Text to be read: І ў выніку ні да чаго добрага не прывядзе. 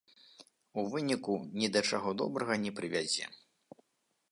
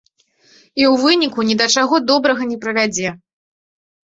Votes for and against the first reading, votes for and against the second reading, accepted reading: 1, 2, 3, 0, second